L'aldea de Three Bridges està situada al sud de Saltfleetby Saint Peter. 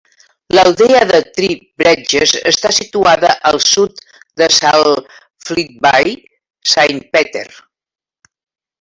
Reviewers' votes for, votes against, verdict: 0, 2, rejected